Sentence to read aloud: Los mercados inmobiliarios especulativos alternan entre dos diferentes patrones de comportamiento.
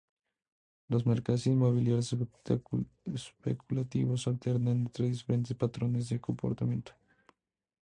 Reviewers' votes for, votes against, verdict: 0, 4, rejected